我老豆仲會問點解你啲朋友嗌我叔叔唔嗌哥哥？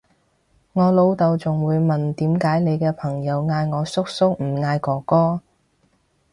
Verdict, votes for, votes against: rejected, 0, 2